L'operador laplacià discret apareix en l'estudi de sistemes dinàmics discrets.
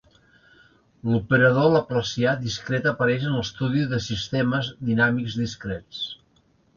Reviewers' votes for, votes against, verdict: 3, 0, accepted